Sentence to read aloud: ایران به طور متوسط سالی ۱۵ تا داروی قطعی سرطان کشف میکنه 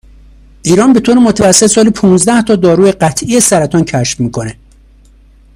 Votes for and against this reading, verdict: 0, 2, rejected